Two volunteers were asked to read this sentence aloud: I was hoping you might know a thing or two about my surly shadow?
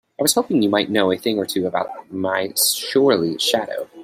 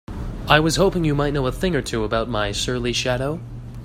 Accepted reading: second